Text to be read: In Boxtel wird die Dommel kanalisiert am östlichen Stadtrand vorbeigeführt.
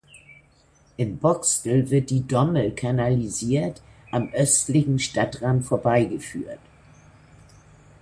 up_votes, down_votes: 2, 0